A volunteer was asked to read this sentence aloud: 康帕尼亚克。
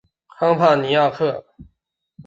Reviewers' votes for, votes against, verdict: 2, 1, accepted